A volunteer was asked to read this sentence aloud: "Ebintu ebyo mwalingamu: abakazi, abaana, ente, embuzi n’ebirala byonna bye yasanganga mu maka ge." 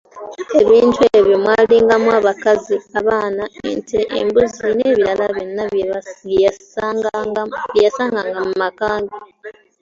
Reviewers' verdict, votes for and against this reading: accepted, 2, 1